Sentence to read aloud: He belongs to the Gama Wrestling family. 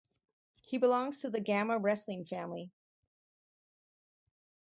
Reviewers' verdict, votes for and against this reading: accepted, 4, 2